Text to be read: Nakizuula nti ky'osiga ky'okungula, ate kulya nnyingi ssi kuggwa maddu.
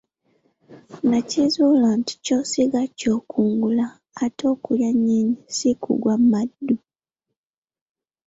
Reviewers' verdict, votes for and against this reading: rejected, 1, 2